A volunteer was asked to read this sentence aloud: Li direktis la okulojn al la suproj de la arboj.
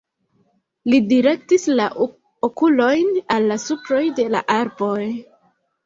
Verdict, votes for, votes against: rejected, 1, 2